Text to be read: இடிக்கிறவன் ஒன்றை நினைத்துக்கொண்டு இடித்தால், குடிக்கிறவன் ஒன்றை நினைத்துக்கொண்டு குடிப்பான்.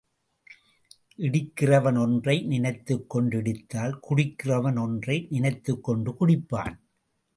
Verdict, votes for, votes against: accepted, 2, 0